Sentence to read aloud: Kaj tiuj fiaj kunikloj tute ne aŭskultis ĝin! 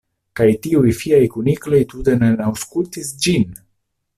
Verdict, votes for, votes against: accepted, 2, 0